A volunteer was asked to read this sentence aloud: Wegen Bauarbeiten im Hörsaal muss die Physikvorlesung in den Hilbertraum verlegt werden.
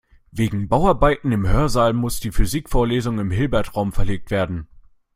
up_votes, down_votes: 0, 2